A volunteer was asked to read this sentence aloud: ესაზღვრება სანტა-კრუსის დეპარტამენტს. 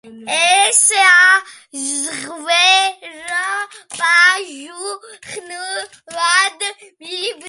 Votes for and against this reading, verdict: 0, 2, rejected